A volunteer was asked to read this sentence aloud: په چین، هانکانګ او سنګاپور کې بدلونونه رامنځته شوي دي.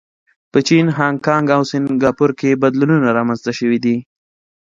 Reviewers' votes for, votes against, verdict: 2, 0, accepted